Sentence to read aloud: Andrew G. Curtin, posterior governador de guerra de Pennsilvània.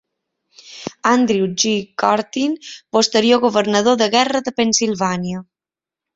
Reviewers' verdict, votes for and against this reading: accepted, 2, 0